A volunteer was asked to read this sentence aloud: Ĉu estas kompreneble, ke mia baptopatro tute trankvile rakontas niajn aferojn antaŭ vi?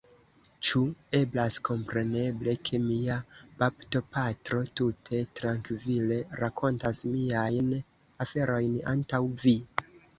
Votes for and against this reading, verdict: 1, 2, rejected